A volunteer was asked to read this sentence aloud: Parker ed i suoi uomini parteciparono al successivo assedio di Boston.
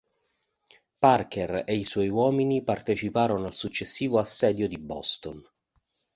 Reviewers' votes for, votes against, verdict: 2, 1, accepted